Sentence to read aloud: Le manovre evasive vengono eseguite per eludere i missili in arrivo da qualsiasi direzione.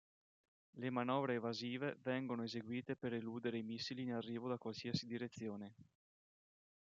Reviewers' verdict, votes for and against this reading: accepted, 2, 0